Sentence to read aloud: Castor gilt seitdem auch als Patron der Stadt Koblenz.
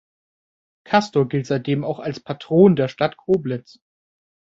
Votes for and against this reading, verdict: 2, 0, accepted